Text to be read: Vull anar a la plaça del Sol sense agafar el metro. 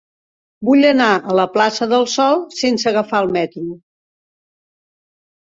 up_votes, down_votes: 4, 0